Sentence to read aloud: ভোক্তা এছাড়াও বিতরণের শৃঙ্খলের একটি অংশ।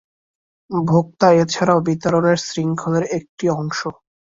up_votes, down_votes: 6, 2